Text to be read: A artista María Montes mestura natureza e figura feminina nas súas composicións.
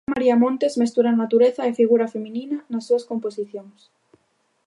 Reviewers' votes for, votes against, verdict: 0, 2, rejected